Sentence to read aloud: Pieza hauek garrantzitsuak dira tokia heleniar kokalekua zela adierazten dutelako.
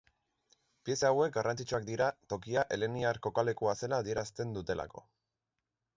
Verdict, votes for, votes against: accepted, 2, 0